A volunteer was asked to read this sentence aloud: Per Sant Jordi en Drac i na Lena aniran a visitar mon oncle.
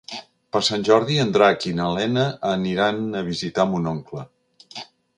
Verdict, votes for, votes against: accepted, 3, 0